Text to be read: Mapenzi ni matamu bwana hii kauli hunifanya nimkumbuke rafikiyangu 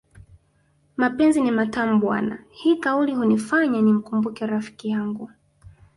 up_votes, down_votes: 2, 1